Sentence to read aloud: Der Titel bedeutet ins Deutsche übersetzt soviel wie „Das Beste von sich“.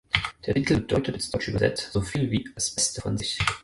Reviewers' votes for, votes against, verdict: 0, 4, rejected